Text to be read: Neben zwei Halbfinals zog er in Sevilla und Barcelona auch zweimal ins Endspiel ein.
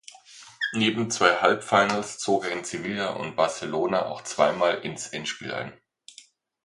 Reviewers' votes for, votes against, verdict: 2, 0, accepted